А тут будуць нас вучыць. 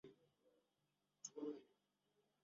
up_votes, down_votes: 0, 2